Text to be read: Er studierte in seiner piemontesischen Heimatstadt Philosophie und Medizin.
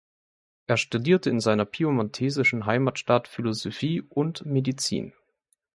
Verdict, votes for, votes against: rejected, 1, 2